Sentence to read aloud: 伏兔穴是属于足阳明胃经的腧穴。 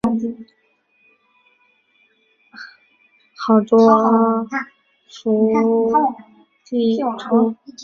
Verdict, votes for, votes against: rejected, 0, 3